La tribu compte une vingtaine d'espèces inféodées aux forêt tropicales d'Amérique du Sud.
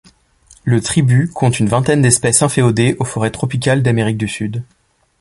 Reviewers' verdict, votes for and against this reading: rejected, 0, 2